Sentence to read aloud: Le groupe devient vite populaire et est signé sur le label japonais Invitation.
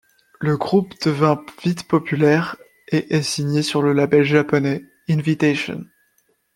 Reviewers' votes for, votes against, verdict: 1, 2, rejected